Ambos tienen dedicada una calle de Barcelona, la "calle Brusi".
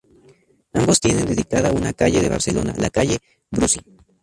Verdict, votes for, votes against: rejected, 0, 2